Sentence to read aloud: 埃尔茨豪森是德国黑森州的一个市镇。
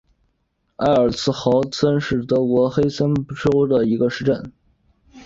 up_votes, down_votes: 2, 0